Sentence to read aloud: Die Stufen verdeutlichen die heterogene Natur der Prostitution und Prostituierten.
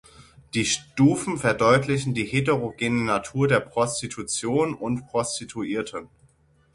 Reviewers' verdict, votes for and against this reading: rejected, 3, 6